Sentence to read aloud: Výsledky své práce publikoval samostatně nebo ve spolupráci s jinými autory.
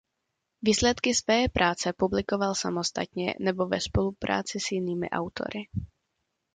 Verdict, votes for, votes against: accepted, 2, 0